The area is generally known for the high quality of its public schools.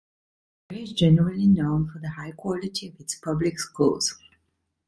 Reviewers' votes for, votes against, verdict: 1, 2, rejected